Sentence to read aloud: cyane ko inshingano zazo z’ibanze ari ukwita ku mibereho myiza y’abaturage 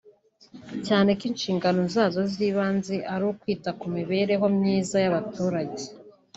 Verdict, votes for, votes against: accepted, 2, 0